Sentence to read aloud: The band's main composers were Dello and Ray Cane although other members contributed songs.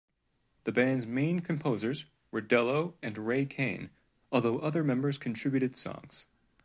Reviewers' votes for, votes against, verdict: 2, 0, accepted